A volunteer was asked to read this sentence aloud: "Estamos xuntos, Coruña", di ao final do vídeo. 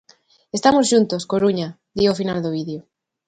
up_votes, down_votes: 2, 0